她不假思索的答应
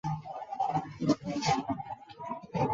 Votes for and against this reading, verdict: 0, 4, rejected